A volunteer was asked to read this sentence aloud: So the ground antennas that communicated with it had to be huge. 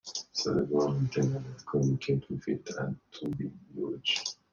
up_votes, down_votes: 1, 2